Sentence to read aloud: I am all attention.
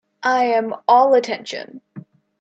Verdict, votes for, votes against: accepted, 2, 0